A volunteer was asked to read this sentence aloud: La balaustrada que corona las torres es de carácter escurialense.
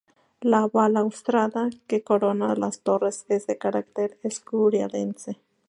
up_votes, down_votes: 0, 2